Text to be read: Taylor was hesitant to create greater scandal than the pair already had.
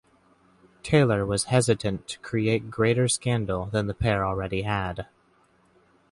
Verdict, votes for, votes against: accepted, 2, 0